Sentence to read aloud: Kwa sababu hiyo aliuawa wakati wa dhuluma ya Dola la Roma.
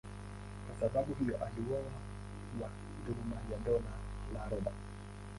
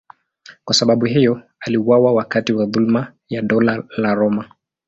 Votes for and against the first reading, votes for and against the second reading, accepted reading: 0, 2, 2, 0, second